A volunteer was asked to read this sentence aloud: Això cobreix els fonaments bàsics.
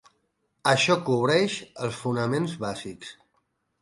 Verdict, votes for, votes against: accepted, 6, 0